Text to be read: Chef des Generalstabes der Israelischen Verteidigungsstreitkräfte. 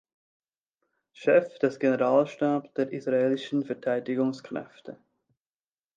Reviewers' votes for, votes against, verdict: 2, 0, accepted